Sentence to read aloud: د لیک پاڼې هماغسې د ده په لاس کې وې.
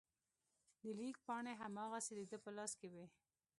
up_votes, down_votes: 2, 0